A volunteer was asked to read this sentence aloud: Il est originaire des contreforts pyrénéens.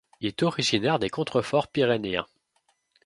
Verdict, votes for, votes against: rejected, 1, 2